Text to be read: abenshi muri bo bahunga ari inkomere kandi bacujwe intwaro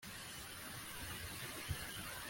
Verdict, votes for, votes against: rejected, 1, 2